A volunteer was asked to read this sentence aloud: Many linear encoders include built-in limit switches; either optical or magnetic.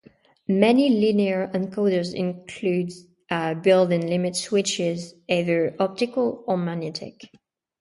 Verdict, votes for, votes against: rejected, 0, 2